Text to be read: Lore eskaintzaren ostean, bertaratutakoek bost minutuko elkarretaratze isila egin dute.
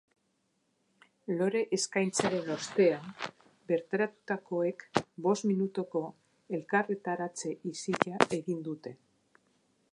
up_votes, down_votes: 2, 0